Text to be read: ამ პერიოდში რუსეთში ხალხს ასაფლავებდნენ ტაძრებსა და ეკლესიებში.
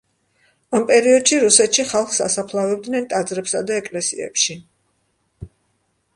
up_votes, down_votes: 2, 0